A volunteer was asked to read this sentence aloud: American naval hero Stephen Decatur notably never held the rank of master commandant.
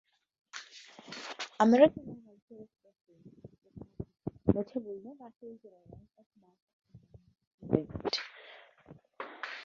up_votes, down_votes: 0, 2